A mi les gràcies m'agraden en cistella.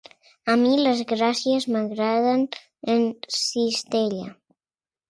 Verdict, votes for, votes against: accepted, 2, 0